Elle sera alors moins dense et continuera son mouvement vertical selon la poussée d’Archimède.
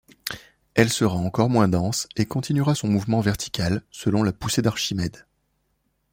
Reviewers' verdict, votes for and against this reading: accepted, 2, 0